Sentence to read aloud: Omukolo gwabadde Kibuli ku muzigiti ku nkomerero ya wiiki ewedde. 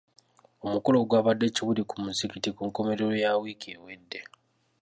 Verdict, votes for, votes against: accepted, 2, 0